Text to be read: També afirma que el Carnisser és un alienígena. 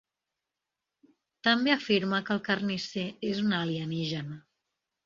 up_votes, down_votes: 3, 0